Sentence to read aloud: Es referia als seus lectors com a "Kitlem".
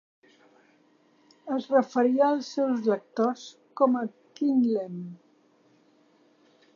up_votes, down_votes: 2, 0